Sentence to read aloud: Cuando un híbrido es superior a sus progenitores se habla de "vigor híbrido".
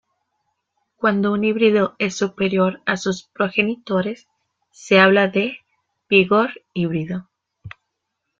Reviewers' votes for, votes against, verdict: 2, 0, accepted